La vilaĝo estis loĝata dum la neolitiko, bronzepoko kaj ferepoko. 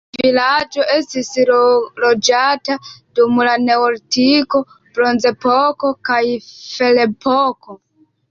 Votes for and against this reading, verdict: 1, 3, rejected